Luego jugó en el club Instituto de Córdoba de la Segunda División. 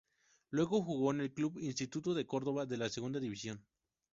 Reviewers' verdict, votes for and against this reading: accepted, 4, 0